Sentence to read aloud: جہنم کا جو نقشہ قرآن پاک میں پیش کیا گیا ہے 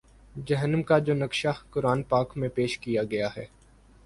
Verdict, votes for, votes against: accepted, 9, 0